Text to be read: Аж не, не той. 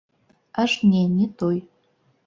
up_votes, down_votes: 0, 2